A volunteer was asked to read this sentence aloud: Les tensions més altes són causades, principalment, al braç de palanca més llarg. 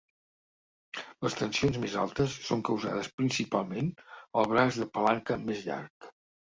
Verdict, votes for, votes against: accepted, 2, 0